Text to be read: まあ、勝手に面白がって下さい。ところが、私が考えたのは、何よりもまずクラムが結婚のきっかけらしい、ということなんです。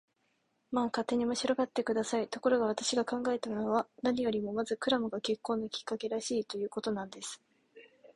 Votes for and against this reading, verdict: 5, 0, accepted